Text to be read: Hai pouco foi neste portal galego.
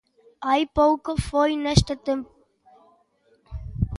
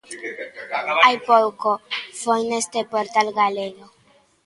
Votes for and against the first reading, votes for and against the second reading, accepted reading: 0, 2, 2, 0, second